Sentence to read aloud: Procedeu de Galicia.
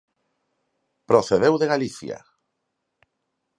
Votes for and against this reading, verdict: 4, 0, accepted